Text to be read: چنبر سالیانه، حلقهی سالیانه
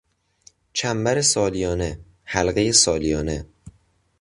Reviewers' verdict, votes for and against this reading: accepted, 2, 0